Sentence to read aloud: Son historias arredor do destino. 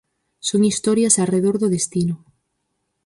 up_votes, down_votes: 4, 0